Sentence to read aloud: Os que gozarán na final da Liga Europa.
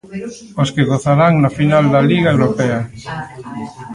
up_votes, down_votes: 1, 2